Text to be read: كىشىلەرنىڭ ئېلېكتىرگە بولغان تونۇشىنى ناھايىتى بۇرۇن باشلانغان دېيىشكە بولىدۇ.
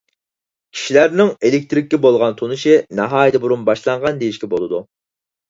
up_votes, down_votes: 0, 4